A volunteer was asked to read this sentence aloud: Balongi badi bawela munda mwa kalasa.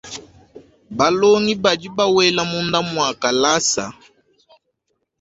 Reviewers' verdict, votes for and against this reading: accepted, 2, 0